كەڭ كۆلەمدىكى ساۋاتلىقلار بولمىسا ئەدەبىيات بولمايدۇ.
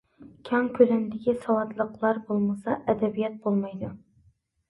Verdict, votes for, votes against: accepted, 2, 0